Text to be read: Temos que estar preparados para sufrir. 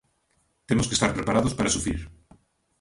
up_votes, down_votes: 2, 0